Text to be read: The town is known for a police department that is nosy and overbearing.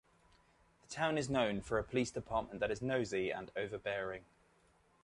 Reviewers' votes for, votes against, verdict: 2, 0, accepted